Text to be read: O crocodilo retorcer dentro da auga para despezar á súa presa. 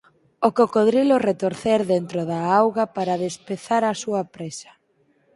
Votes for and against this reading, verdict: 0, 4, rejected